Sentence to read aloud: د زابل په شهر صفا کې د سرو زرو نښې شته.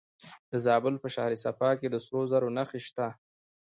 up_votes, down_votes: 0, 2